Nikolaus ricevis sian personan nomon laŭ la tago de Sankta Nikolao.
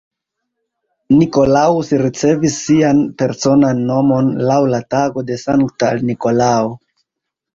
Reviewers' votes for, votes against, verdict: 0, 2, rejected